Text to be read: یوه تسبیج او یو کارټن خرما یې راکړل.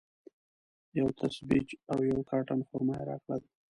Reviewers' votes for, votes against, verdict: 0, 2, rejected